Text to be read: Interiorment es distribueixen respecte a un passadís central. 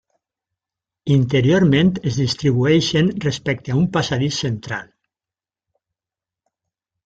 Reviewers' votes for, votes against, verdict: 3, 0, accepted